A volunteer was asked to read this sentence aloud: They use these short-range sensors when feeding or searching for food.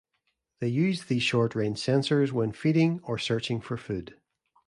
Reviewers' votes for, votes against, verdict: 2, 0, accepted